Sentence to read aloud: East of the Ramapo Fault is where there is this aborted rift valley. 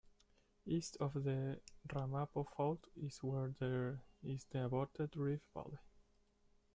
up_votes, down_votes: 0, 2